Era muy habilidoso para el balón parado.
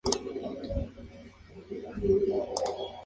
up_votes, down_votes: 0, 2